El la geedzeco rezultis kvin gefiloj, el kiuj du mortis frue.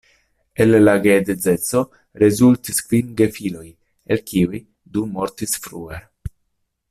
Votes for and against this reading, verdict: 1, 2, rejected